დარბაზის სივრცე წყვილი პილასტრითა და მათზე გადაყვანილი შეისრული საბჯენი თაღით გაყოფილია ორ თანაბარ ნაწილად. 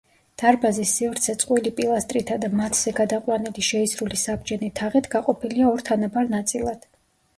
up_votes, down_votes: 2, 0